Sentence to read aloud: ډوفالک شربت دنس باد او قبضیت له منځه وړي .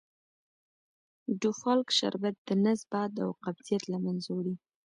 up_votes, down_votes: 2, 0